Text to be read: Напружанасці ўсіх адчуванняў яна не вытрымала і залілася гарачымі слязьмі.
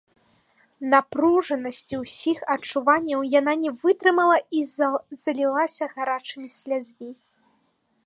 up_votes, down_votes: 1, 2